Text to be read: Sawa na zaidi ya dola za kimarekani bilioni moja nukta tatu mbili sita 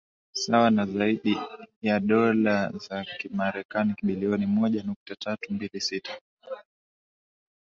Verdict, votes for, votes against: rejected, 1, 2